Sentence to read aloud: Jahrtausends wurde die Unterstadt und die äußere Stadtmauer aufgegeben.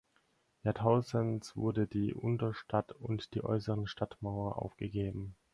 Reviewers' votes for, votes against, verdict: 4, 2, accepted